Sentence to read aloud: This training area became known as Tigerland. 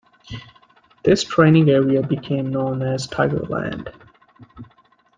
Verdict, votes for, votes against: accepted, 2, 0